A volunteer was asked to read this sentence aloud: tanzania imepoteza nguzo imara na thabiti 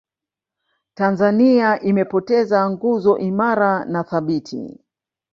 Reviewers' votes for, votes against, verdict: 1, 2, rejected